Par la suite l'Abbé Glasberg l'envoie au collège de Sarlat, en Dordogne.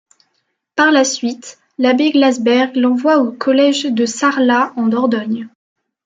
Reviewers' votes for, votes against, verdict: 2, 0, accepted